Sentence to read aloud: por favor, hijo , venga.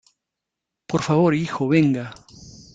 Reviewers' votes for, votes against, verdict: 2, 0, accepted